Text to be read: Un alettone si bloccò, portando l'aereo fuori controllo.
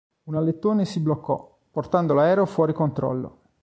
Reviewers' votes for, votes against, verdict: 2, 0, accepted